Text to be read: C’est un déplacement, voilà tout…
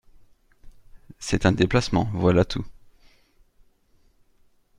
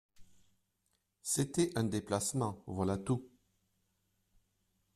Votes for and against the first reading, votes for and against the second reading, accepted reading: 2, 0, 0, 2, first